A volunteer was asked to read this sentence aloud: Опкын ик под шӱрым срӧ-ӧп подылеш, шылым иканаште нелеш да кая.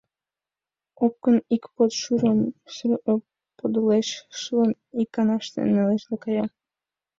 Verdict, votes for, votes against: rejected, 1, 2